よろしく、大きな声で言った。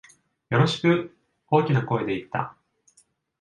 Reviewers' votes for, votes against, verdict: 2, 0, accepted